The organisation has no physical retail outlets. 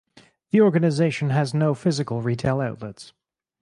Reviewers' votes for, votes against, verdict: 2, 4, rejected